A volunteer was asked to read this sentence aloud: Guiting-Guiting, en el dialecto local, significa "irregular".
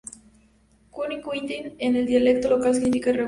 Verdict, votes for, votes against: rejected, 0, 2